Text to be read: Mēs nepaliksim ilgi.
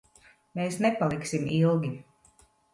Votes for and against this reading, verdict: 2, 0, accepted